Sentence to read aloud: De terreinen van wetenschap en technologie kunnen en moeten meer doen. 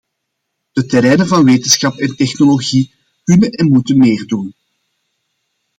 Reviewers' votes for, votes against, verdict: 2, 0, accepted